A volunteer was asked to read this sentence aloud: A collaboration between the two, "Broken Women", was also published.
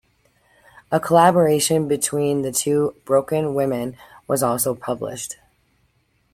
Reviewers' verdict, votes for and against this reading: accepted, 2, 0